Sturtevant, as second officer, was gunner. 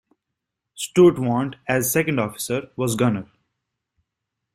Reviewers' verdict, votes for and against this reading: accepted, 2, 1